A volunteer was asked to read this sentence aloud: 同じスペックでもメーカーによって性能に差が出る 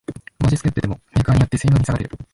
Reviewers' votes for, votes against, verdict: 0, 2, rejected